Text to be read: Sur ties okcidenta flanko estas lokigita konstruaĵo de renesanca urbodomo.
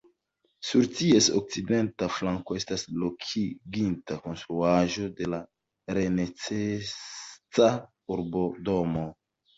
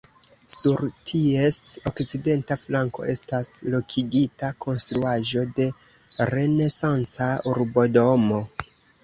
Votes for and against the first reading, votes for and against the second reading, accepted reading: 1, 2, 2, 0, second